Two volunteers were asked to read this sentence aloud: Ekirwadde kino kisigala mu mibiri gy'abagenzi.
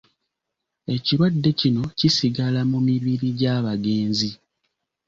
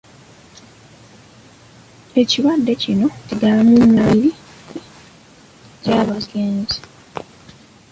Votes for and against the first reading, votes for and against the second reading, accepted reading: 2, 0, 1, 2, first